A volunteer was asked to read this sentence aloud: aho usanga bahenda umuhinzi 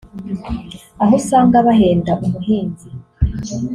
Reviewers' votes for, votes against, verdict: 0, 2, rejected